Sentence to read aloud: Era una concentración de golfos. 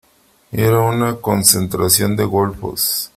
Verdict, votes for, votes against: accepted, 3, 0